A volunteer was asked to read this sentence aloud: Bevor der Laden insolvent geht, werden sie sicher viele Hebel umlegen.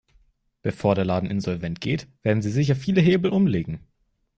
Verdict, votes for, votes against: accepted, 2, 0